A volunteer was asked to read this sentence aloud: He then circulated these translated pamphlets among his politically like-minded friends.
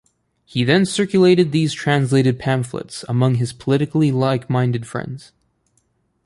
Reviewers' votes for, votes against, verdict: 2, 1, accepted